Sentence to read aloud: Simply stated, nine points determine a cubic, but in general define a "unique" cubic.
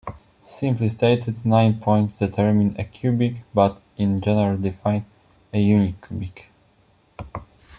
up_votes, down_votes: 1, 2